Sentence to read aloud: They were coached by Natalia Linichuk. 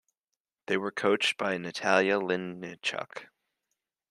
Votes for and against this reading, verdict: 2, 0, accepted